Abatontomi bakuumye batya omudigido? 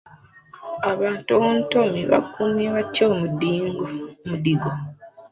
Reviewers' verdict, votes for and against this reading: accepted, 2, 1